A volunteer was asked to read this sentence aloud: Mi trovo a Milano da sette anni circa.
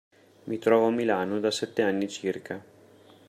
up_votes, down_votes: 2, 0